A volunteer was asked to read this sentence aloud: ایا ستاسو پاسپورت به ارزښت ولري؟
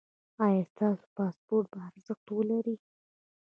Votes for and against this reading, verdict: 2, 0, accepted